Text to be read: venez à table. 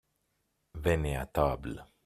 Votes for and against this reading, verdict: 0, 2, rejected